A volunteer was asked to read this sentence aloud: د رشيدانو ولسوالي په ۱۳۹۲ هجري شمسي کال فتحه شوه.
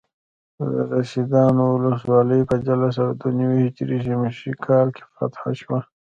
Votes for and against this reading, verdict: 0, 2, rejected